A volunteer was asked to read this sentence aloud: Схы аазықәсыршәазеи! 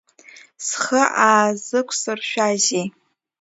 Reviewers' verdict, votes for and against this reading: accepted, 2, 0